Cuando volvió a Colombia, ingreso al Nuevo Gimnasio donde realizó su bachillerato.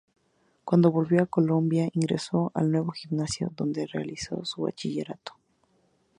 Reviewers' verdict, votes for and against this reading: accepted, 4, 0